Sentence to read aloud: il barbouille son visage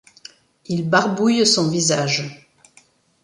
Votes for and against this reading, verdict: 2, 0, accepted